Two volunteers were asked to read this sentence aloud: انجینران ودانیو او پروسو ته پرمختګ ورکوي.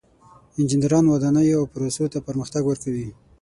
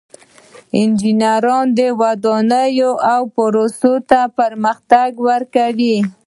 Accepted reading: second